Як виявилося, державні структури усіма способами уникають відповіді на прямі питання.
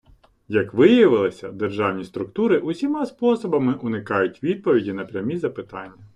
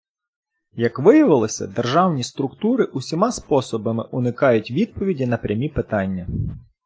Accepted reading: second